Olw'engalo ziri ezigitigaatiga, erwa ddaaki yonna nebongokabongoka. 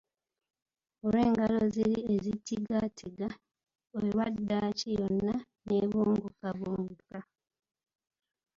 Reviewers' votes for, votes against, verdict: 1, 2, rejected